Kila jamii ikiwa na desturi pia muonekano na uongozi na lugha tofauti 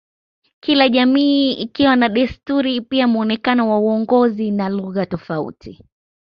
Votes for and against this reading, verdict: 1, 2, rejected